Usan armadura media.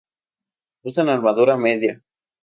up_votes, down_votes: 2, 0